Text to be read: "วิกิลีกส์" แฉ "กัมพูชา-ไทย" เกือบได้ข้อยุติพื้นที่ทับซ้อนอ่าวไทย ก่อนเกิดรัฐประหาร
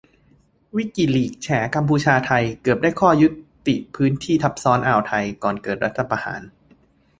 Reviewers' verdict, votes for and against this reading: accepted, 2, 0